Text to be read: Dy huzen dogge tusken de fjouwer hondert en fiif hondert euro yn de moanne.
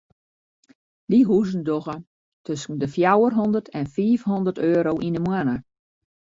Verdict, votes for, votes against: rejected, 0, 2